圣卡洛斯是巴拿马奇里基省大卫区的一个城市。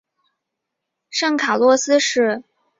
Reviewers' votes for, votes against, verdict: 0, 3, rejected